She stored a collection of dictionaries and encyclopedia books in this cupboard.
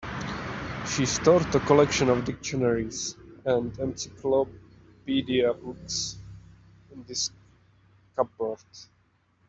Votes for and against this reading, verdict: 0, 2, rejected